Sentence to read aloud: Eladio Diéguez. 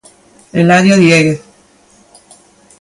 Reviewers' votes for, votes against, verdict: 2, 1, accepted